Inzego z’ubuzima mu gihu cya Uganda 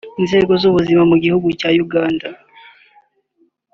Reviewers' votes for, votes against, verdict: 2, 0, accepted